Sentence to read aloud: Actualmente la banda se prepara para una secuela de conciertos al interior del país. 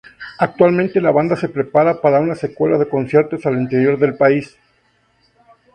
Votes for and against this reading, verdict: 2, 0, accepted